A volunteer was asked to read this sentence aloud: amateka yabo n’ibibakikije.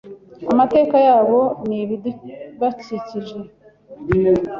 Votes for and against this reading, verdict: 1, 2, rejected